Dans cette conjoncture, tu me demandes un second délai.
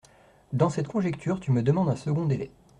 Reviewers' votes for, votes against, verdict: 1, 2, rejected